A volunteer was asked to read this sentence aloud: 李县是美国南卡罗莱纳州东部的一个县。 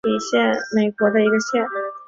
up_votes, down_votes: 0, 2